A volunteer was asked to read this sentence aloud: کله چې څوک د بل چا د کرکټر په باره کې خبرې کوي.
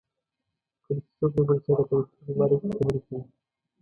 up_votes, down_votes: 2, 1